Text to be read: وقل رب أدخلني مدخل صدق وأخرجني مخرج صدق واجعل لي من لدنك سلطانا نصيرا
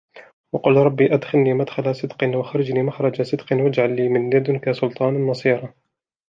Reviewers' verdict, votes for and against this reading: accepted, 2, 0